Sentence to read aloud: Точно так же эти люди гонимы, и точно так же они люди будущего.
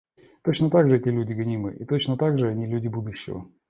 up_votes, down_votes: 2, 0